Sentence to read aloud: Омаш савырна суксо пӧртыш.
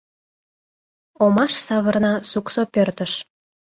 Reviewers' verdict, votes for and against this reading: accepted, 2, 0